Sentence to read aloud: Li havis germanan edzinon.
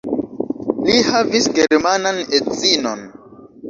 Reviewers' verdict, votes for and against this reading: accepted, 2, 0